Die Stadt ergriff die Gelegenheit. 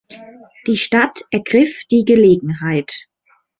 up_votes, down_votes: 2, 0